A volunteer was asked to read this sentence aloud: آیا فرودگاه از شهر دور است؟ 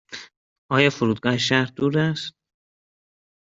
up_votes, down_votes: 1, 2